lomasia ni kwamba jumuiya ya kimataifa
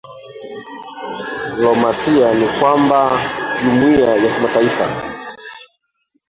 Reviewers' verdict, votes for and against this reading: rejected, 0, 3